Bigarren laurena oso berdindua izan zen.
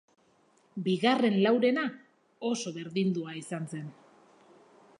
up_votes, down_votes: 4, 0